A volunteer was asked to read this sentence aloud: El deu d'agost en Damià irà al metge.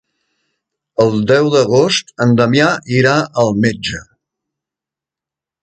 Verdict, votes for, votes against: accepted, 2, 0